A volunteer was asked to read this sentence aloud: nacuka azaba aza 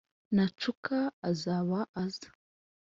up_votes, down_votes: 2, 0